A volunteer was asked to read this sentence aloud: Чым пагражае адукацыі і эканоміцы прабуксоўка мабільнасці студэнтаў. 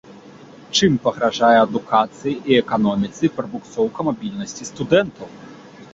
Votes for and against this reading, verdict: 2, 0, accepted